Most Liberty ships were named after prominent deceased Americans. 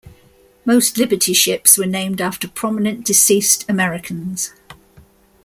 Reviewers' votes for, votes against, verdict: 2, 0, accepted